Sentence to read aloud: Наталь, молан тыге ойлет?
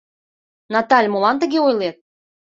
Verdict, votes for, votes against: accepted, 2, 0